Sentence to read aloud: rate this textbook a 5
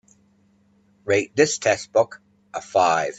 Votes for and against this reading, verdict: 0, 2, rejected